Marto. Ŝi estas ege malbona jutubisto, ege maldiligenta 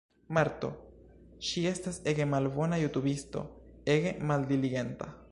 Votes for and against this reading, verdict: 2, 0, accepted